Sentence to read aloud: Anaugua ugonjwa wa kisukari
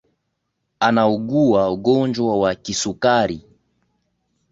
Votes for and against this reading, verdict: 2, 0, accepted